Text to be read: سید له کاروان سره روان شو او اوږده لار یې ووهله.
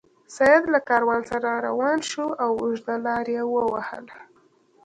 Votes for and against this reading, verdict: 2, 0, accepted